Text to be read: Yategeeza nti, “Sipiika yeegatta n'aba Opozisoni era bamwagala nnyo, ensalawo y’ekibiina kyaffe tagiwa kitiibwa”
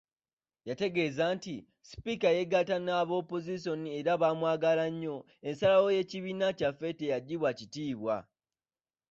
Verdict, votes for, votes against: accepted, 2, 0